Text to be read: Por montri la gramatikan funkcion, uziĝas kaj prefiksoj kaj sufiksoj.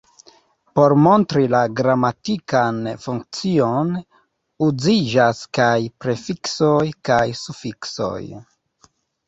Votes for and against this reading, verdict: 1, 2, rejected